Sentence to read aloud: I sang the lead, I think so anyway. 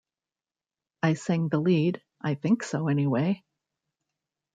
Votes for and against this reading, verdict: 1, 2, rejected